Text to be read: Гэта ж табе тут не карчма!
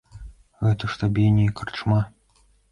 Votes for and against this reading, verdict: 0, 2, rejected